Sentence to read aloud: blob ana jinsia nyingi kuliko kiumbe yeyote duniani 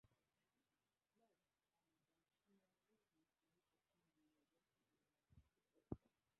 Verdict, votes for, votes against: rejected, 0, 2